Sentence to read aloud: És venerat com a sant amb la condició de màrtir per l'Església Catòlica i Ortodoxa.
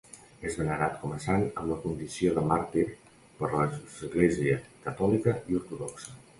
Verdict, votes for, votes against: rejected, 0, 2